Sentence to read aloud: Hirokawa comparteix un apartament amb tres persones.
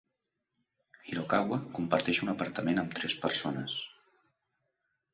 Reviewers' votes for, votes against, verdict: 2, 0, accepted